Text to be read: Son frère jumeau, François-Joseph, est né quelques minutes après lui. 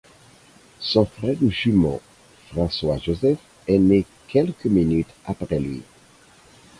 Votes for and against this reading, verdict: 4, 0, accepted